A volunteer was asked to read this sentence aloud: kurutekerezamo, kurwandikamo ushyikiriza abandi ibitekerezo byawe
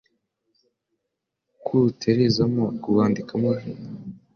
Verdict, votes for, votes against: rejected, 1, 2